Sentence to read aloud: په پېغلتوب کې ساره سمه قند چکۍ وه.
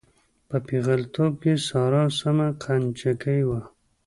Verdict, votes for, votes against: rejected, 1, 2